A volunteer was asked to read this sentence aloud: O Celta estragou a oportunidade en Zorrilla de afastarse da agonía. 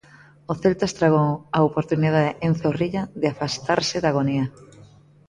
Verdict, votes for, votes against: rejected, 0, 2